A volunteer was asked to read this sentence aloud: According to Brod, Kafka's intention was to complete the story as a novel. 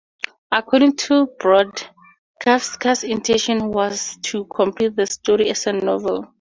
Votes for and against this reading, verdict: 2, 0, accepted